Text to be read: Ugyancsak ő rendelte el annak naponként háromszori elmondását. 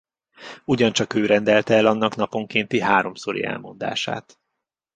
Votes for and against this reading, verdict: 1, 2, rejected